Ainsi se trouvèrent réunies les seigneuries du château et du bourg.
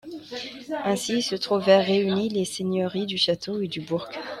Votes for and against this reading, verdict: 1, 2, rejected